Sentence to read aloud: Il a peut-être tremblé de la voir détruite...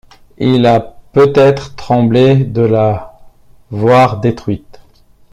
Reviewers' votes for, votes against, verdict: 2, 0, accepted